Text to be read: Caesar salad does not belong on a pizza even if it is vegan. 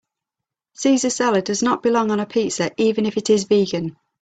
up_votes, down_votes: 2, 0